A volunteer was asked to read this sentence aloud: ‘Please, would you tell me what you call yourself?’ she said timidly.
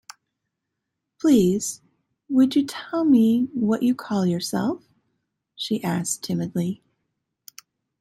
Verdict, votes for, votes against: rejected, 0, 2